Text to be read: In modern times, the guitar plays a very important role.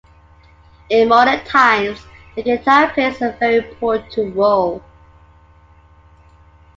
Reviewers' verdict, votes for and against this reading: accepted, 2, 1